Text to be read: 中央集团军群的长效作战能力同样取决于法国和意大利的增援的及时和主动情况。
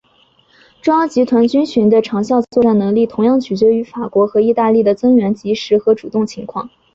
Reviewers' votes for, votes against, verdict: 3, 0, accepted